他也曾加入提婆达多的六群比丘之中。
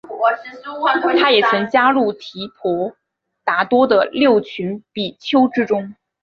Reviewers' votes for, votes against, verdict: 3, 0, accepted